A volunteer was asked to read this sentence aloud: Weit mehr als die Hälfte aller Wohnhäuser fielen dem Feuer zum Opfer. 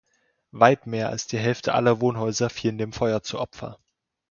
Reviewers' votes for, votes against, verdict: 1, 2, rejected